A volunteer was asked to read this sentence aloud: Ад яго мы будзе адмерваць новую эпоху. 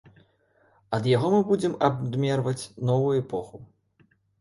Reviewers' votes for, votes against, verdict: 0, 2, rejected